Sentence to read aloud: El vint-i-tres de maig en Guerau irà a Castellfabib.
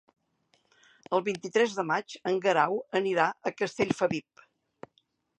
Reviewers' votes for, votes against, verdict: 0, 2, rejected